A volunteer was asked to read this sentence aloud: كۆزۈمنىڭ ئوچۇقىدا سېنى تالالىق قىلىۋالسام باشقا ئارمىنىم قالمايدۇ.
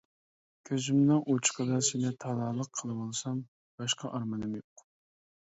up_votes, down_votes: 0, 2